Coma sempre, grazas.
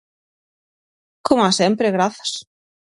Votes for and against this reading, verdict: 6, 0, accepted